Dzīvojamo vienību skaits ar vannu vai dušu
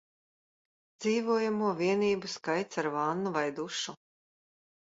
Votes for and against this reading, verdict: 2, 0, accepted